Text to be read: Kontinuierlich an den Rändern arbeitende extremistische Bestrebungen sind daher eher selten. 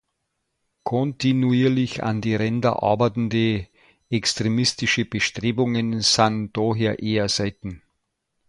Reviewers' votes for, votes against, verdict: 0, 2, rejected